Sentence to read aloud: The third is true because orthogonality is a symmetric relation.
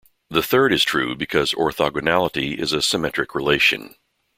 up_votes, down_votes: 2, 0